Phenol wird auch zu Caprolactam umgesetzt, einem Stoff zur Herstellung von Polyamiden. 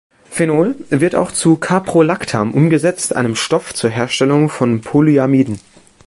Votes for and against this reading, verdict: 3, 0, accepted